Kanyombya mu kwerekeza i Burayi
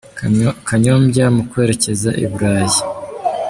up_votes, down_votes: 2, 0